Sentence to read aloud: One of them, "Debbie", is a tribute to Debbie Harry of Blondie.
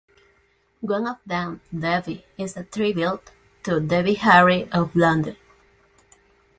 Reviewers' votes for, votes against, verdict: 2, 0, accepted